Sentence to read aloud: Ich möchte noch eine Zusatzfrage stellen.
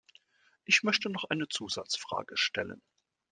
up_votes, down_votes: 2, 0